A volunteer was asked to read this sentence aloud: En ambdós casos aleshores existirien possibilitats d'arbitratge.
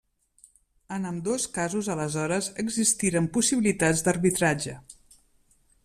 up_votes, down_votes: 0, 2